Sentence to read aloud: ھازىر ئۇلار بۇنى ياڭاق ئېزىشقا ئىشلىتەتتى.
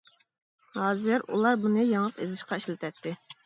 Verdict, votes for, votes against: accepted, 2, 0